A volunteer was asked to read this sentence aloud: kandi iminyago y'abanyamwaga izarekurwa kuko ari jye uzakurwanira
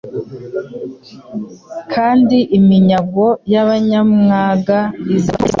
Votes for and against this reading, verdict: 0, 2, rejected